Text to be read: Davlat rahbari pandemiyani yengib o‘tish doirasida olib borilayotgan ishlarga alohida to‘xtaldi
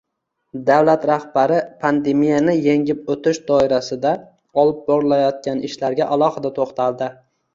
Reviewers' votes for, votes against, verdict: 2, 1, accepted